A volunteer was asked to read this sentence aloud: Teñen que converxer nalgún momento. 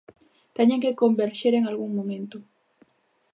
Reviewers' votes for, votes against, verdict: 0, 3, rejected